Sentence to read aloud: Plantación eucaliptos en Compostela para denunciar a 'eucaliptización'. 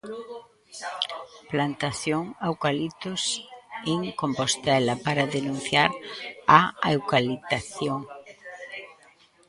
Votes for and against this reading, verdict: 0, 2, rejected